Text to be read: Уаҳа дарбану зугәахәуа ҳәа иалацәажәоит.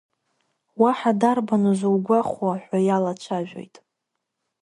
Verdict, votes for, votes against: rejected, 0, 2